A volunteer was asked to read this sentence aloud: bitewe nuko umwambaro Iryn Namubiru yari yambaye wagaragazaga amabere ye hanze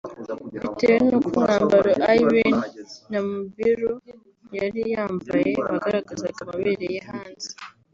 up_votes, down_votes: 2, 1